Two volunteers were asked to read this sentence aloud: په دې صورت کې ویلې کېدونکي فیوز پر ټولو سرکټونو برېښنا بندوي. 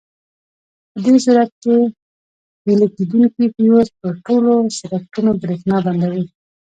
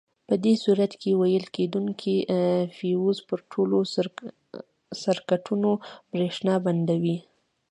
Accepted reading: second